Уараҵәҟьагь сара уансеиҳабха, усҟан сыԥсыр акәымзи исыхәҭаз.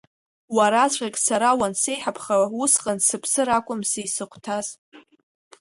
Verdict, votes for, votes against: accepted, 2, 0